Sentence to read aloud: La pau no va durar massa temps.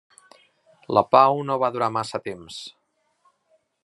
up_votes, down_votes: 3, 0